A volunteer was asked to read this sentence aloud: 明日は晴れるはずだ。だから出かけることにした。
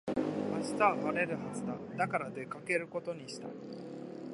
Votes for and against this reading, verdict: 2, 0, accepted